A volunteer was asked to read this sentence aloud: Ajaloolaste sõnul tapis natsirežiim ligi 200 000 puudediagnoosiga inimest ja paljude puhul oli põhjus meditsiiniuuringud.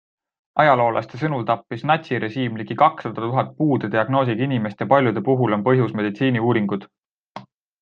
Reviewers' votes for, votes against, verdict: 0, 2, rejected